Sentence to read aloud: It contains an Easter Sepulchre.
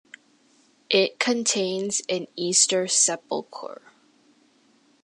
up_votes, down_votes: 2, 0